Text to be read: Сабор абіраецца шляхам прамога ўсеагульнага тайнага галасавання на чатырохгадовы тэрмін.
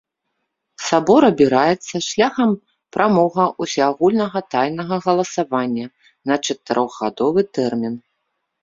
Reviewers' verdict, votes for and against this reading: accepted, 2, 0